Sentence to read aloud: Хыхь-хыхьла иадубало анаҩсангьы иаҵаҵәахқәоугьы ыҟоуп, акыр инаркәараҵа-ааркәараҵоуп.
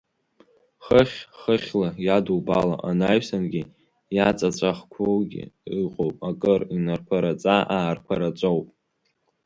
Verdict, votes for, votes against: accepted, 3, 0